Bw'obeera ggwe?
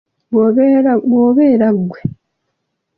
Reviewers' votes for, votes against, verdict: 2, 1, accepted